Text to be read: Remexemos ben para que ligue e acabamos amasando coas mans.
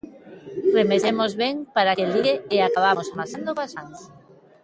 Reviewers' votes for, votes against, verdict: 1, 2, rejected